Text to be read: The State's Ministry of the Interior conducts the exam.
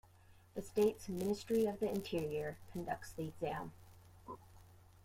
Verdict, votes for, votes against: rejected, 0, 2